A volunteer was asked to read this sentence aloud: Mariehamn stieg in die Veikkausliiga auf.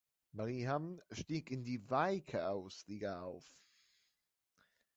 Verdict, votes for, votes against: rejected, 0, 2